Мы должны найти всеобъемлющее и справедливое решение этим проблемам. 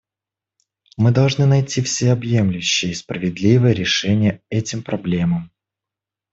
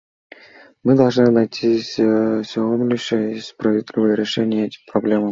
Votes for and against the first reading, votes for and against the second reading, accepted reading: 2, 0, 0, 2, first